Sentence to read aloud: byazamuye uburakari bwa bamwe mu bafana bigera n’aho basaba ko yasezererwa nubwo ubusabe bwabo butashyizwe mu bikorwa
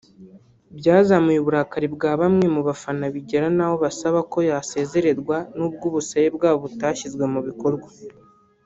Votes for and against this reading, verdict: 0, 2, rejected